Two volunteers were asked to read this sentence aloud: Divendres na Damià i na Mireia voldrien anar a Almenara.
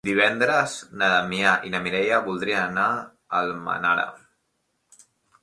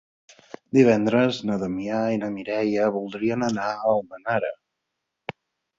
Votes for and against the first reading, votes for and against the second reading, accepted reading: 2, 3, 4, 0, second